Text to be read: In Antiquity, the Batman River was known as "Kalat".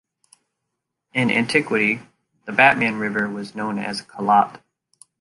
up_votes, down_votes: 2, 0